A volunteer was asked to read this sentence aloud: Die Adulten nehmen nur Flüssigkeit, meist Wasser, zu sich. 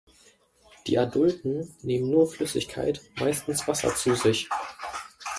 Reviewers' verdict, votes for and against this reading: rejected, 1, 2